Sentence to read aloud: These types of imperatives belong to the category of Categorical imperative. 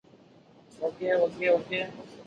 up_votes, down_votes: 0, 2